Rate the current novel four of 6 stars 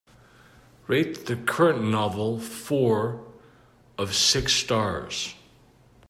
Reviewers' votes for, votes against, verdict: 0, 2, rejected